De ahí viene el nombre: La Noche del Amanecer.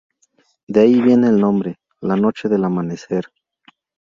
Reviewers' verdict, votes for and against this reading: rejected, 2, 2